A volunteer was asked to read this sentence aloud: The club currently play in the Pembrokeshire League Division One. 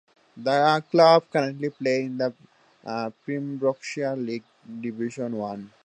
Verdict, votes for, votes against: accepted, 3, 2